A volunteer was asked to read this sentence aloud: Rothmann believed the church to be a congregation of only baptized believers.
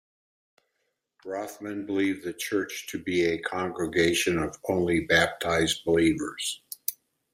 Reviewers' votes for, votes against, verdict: 2, 0, accepted